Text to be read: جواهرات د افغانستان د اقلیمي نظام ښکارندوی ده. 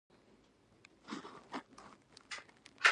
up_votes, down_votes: 0, 2